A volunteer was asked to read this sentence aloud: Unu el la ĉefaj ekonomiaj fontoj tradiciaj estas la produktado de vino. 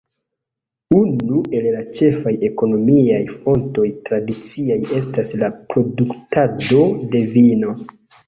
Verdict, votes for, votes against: accepted, 2, 0